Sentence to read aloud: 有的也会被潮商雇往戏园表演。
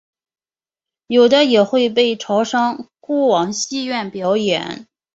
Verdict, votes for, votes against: accepted, 6, 0